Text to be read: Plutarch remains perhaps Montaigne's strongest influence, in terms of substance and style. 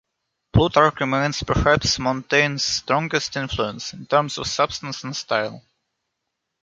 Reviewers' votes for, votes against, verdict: 1, 2, rejected